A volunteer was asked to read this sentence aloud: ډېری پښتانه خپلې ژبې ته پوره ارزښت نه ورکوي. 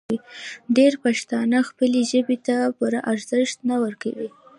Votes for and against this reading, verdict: 3, 0, accepted